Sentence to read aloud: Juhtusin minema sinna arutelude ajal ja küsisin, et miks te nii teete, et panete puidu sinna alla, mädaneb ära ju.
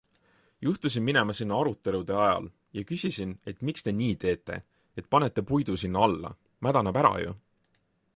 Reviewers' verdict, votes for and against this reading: accepted, 2, 0